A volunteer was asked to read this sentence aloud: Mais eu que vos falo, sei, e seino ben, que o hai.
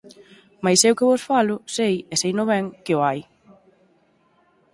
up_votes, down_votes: 4, 0